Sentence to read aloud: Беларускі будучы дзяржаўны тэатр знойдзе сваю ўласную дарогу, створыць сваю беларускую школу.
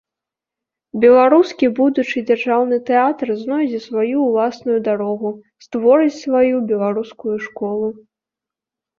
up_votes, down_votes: 2, 0